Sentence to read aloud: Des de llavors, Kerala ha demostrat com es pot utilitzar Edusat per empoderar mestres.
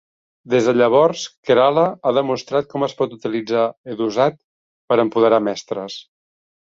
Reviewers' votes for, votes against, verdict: 3, 0, accepted